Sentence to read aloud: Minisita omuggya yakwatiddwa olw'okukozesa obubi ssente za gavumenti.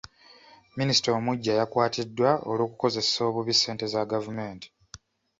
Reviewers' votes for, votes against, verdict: 2, 1, accepted